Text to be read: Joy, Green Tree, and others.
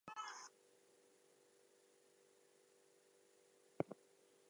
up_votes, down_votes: 0, 2